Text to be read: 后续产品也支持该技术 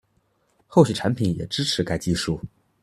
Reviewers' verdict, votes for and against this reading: accepted, 2, 0